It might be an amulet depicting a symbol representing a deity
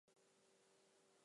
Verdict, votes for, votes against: rejected, 0, 2